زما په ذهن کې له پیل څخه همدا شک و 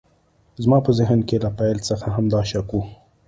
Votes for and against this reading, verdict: 2, 0, accepted